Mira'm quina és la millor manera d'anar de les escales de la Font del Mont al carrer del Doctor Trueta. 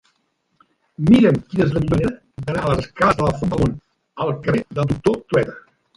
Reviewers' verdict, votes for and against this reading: rejected, 0, 2